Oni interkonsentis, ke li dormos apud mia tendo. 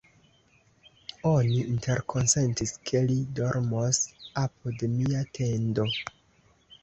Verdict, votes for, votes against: accepted, 2, 1